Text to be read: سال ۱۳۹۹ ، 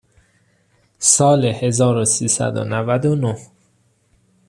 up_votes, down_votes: 0, 2